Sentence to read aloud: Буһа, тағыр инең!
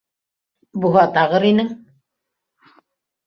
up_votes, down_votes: 3, 1